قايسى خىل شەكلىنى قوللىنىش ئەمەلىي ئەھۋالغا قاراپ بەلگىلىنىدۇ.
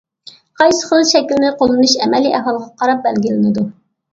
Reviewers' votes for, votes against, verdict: 2, 0, accepted